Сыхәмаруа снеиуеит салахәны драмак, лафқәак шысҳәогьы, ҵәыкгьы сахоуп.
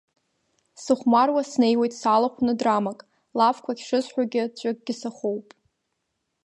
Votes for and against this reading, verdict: 7, 0, accepted